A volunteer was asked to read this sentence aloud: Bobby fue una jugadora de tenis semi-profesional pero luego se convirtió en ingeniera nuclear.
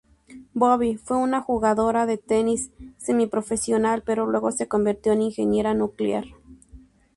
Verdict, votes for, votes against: accepted, 4, 0